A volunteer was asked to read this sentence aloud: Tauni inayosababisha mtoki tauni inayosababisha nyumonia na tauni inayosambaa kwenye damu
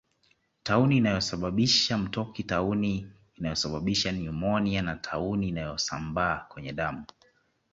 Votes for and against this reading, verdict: 2, 0, accepted